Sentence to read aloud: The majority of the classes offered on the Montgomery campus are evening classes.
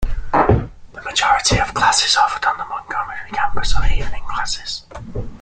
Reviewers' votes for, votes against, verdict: 2, 0, accepted